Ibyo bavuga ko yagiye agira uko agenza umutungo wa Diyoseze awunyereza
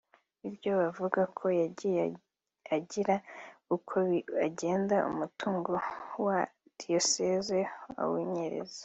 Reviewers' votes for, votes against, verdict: 0, 2, rejected